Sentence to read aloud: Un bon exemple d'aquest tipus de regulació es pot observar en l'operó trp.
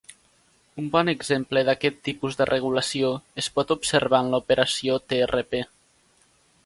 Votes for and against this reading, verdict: 0, 2, rejected